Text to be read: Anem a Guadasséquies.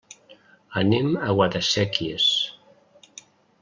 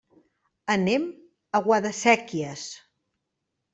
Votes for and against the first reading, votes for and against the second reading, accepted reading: 3, 0, 1, 2, first